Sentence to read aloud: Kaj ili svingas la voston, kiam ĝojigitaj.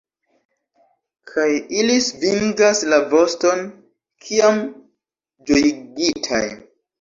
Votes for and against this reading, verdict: 1, 2, rejected